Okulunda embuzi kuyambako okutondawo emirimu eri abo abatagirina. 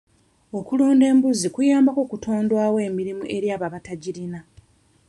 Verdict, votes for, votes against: rejected, 1, 2